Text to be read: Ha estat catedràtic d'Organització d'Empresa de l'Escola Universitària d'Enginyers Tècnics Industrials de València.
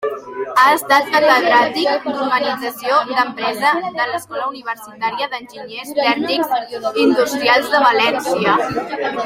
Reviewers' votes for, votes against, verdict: 1, 3, rejected